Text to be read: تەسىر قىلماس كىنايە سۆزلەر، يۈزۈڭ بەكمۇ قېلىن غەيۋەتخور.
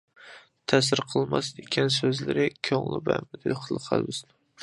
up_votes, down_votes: 0, 2